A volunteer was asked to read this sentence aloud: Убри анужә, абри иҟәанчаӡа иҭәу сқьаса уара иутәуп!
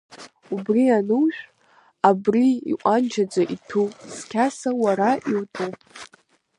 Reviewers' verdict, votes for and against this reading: accepted, 2, 1